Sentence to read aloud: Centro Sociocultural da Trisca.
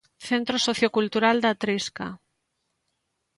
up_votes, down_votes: 3, 0